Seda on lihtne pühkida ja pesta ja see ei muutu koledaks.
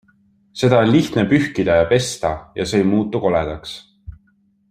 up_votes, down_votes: 2, 0